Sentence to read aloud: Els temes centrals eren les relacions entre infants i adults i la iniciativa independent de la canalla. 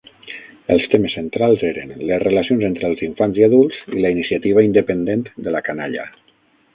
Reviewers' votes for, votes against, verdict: 0, 6, rejected